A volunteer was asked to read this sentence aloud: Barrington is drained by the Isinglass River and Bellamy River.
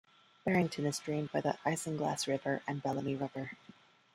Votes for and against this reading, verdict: 1, 2, rejected